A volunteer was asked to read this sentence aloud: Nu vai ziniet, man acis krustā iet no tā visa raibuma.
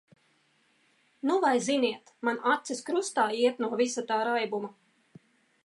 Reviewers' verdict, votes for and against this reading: rejected, 0, 2